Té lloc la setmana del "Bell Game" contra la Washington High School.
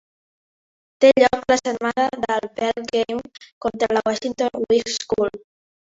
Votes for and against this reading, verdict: 2, 3, rejected